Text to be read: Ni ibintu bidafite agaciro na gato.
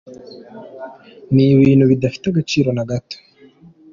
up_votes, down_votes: 2, 0